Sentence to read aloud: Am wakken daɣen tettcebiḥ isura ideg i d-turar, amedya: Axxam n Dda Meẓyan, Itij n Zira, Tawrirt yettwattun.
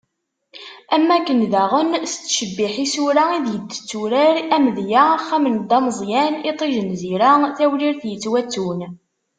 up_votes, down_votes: 2, 1